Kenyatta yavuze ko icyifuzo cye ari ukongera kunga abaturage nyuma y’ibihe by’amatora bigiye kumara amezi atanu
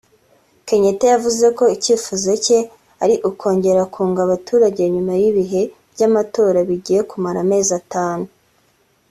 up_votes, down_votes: 3, 0